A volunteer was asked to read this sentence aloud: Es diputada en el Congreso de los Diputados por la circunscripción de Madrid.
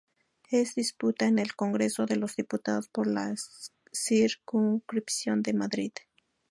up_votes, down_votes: 0, 4